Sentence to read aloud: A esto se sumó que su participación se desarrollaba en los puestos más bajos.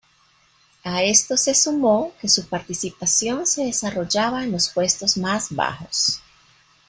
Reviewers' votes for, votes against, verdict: 3, 1, accepted